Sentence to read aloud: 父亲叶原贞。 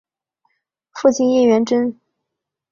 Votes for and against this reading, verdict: 5, 1, accepted